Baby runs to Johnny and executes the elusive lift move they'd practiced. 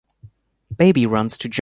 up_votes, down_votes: 0, 2